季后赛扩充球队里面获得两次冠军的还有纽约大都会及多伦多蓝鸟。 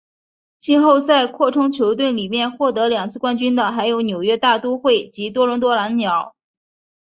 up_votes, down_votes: 2, 0